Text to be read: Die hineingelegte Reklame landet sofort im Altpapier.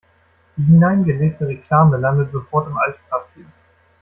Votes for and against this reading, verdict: 1, 2, rejected